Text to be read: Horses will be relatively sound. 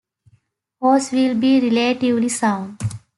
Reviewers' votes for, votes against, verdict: 0, 2, rejected